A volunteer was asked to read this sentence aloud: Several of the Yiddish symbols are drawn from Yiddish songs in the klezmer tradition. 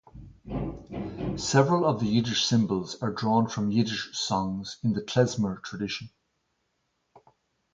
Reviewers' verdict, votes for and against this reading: rejected, 2, 2